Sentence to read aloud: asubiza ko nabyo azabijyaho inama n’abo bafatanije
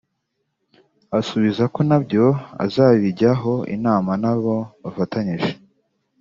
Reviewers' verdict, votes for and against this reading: accepted, 2, 0